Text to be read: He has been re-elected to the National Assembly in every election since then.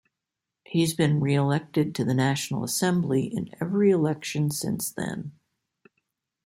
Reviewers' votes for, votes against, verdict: 2, 0, accepted